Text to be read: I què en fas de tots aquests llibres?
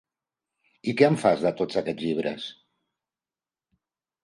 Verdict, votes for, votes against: accepted, 4, 0